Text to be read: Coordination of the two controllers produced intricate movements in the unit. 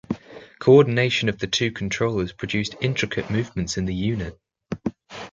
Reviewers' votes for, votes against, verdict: 3, 0, accepted